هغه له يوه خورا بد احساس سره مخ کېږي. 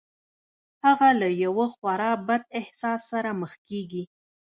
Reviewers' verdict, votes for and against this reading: accepted, 3, 0